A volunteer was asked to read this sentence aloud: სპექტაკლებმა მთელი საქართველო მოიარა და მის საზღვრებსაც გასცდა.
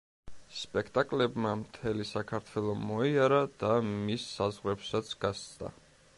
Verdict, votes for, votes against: accepted, 2, 0